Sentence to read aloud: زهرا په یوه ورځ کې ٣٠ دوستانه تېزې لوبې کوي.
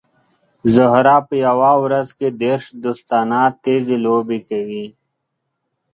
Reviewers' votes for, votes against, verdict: 0, 2, rejected